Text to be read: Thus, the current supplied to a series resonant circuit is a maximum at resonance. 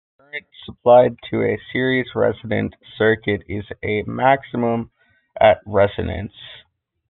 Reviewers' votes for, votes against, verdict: 0, 2, rejected